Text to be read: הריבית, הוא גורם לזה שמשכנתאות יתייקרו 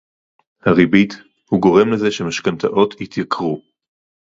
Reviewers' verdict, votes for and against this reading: accepted, 4, 0